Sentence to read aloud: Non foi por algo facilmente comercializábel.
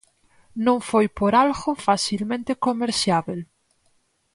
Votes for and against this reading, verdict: 2, 4, rejected